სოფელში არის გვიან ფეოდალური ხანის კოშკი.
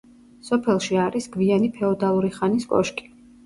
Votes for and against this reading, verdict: 0, 2, rejected